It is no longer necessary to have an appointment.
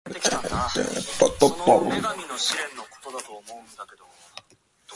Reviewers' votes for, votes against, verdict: 0, 2, rejected